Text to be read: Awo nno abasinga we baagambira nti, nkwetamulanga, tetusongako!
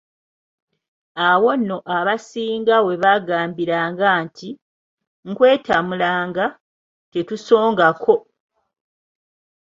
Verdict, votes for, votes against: rejected, 0, 3